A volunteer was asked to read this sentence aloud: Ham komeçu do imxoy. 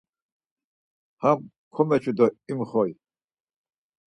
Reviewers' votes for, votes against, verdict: 4, 0, accepted